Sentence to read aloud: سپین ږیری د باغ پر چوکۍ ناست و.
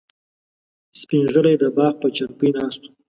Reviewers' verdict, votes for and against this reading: rejected, 1, 2